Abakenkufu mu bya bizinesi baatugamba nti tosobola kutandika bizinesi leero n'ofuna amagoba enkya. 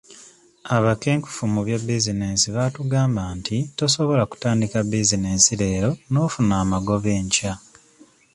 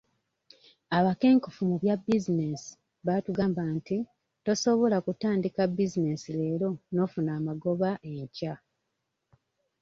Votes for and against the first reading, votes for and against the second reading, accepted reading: 2, 0, 0, 2, first